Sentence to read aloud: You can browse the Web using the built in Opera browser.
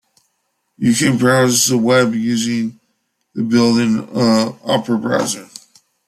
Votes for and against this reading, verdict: 0, 2, rejected